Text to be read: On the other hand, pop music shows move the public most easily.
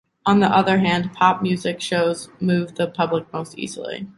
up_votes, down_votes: 2, 0